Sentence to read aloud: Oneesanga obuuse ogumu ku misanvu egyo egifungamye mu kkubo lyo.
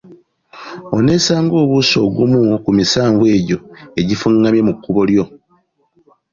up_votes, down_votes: 2, 0